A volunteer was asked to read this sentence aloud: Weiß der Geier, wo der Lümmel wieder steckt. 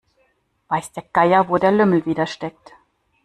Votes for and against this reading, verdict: 2, 0, accepted